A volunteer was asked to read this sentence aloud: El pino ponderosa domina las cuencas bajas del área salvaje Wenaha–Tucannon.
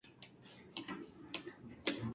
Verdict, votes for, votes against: rejected, 0, 2